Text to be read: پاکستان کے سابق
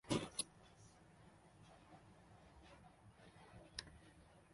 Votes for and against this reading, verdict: 0, 2, rejected